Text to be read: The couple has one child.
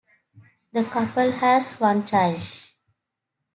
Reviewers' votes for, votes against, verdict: 2, 0, accepted